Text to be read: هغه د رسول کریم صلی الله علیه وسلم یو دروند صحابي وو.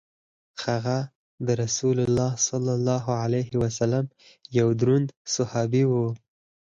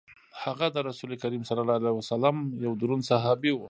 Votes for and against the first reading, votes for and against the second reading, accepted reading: 4, 0, 1, 2, first